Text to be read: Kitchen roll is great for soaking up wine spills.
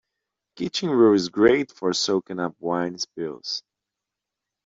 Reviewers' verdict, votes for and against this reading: accepted, 2, 0